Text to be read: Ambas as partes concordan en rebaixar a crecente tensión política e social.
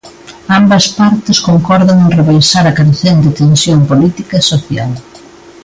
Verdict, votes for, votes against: rejected, 0, 2